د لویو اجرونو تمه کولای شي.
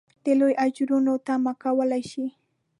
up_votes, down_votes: 2, 0